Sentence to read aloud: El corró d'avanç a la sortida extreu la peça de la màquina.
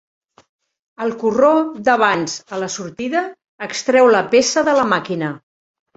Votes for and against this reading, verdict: 2, 0, accepted